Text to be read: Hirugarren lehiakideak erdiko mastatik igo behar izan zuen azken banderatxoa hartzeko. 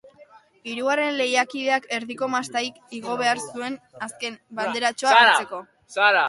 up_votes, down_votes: 0, 2